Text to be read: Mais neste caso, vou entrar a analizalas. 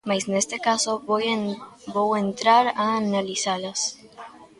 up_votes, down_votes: 0, 2